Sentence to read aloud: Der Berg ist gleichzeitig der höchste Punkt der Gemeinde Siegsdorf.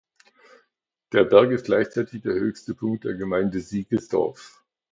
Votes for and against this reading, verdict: 0, 2, rejected